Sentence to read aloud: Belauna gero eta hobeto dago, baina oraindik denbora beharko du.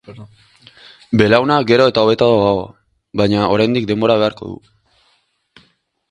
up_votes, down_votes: 0, 2